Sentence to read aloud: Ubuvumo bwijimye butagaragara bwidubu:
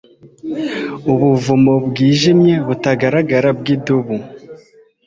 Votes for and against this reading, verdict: 3, 0, accepted